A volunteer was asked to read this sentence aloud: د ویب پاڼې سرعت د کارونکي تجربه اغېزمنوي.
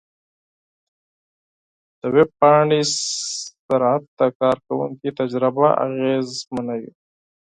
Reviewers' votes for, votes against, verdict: 0, 4, rejected